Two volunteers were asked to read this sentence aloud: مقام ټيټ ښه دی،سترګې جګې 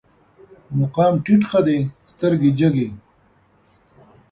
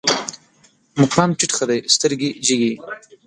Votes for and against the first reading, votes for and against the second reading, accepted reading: 2, 0, 1, 2, first